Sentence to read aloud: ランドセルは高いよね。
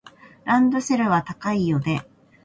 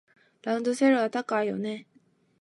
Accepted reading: first